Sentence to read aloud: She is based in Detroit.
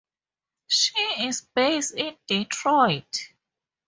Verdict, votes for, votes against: accepted, 2, 0